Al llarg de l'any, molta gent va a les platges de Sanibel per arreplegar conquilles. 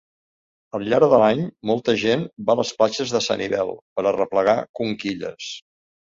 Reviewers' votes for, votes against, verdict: 2, 0, accepted